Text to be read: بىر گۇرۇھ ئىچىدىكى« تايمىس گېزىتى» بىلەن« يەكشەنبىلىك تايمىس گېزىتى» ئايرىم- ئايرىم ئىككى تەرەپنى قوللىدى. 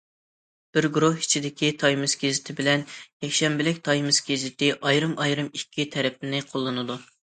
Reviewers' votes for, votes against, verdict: 0, 2, rejected